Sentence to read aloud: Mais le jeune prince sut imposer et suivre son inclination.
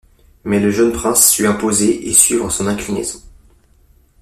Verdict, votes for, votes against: rejected, 1, 2